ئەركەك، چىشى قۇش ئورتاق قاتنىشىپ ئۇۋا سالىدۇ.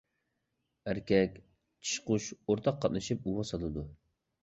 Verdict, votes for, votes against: accepted, 2, 0